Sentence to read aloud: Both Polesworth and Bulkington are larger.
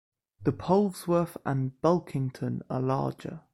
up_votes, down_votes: 0, 2